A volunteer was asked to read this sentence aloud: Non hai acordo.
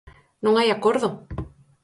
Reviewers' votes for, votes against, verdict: 4, 0, accepted